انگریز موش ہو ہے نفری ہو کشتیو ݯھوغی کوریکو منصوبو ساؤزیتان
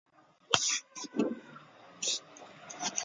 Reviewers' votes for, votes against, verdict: 1, 2, rejected